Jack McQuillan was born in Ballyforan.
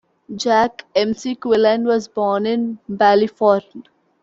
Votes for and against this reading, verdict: 0, 2, rejected